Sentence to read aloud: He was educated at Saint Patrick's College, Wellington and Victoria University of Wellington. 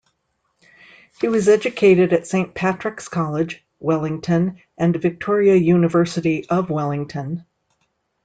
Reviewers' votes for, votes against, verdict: 2, 0, accepted